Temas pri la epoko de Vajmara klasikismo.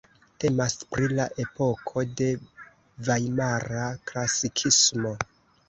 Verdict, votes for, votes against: rejected, 1, 2